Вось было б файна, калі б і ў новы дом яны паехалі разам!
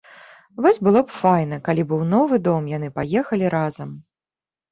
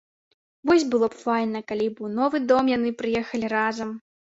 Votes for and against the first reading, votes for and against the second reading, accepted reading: 2, 0, 1, 2, first